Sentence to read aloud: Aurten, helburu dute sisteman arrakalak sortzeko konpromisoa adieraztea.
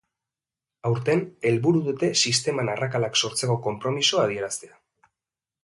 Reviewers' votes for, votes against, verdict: 2, 0, accepted